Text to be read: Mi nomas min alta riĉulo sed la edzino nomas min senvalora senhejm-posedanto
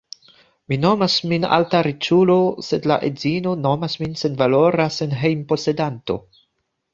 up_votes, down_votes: 2, 0